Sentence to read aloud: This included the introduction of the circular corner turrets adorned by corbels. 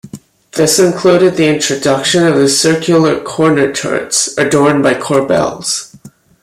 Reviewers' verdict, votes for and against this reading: accepted, 2, 1